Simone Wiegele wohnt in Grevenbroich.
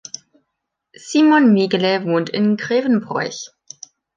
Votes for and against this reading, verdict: 0, 2, rejected